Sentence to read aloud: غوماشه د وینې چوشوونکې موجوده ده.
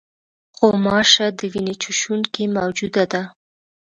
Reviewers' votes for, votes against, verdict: 2, 0, accepted